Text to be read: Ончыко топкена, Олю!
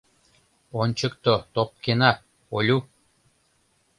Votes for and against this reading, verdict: 0, 2, rejected